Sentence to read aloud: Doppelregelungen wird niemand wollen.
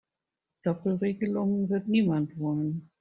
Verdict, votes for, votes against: accepted, 2, 0